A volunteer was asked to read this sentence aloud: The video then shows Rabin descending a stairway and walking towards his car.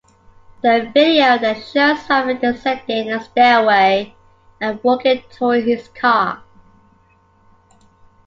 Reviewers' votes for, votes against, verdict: 0, 2, rejected